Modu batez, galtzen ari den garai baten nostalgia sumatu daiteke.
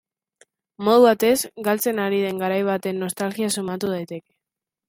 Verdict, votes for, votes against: accepted, 2, 0